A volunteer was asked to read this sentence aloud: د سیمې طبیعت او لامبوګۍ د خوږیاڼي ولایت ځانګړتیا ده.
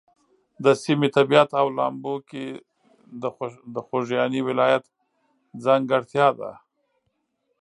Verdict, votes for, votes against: rejected, 1, 2